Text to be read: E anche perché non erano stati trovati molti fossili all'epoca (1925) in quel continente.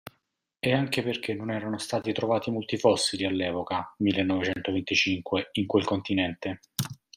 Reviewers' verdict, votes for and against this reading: rejected, 0, 2